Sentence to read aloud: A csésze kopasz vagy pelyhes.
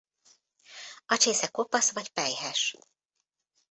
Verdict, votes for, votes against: accepted, 2, 0